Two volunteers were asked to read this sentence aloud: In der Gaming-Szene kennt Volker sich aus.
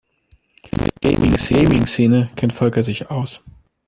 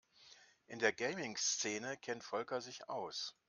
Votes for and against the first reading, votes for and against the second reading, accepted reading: 0, 2, 2, 0, second